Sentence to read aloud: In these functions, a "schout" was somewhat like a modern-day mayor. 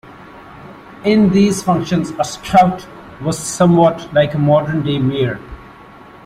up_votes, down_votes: 2, 0